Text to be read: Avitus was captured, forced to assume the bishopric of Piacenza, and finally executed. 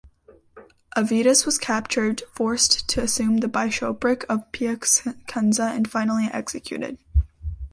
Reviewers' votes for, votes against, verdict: 1, 2, rejected